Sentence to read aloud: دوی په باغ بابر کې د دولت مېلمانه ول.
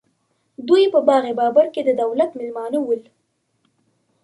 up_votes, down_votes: 2, 0